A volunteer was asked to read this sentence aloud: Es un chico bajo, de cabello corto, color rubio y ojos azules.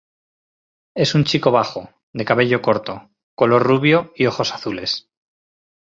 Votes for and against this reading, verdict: 2, 0, accepted